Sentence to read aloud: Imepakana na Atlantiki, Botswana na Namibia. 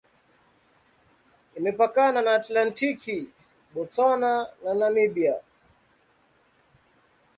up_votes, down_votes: 2, 0